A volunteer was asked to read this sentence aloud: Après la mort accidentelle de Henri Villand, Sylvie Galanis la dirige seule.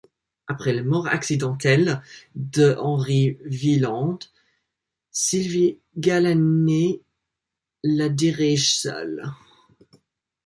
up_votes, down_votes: 2, 0